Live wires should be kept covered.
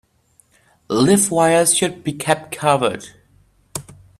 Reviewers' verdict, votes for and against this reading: rejected, 1, 2